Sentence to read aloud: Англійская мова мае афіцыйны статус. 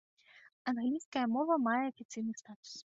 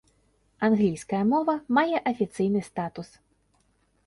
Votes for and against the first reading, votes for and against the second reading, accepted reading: 1, 2, 2, 0, second